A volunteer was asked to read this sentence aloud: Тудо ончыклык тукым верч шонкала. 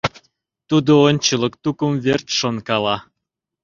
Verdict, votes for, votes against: rejected, 0, 2